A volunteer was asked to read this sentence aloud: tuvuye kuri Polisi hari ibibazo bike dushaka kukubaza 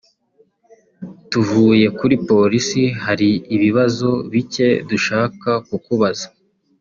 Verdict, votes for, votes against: accepted, 2, 0